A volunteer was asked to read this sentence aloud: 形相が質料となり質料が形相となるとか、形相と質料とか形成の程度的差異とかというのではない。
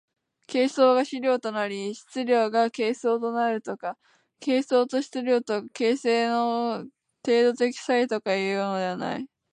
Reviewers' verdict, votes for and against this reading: rejected, 1, 2